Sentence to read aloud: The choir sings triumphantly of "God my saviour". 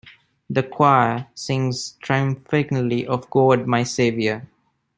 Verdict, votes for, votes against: rejected, 0, 2